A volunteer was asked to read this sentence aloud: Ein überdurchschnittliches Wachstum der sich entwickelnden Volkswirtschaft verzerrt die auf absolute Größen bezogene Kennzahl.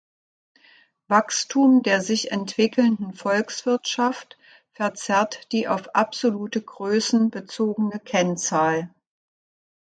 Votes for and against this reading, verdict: 0, 2, rejected